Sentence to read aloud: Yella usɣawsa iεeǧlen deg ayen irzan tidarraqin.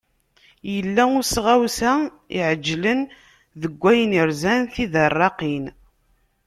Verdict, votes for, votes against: accepted, 2, 0